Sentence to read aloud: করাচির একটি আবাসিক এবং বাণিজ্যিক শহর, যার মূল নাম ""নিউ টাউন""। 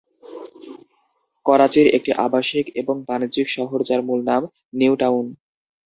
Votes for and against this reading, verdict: 0, 2, rejected